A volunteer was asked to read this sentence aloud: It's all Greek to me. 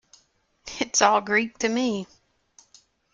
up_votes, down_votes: 2, 0